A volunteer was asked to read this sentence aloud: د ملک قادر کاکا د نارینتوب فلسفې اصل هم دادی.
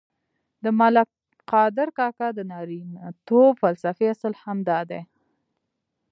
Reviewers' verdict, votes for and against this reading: accepted, 2, 1